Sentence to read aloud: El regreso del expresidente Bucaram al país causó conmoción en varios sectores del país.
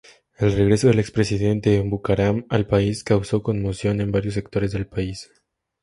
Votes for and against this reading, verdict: 4, 0, accepted